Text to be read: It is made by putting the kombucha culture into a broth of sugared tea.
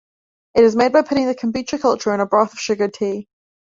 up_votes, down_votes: 2, 1